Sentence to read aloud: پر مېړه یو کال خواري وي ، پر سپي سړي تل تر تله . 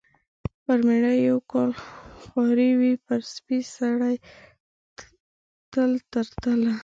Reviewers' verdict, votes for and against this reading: rejected, 1, 2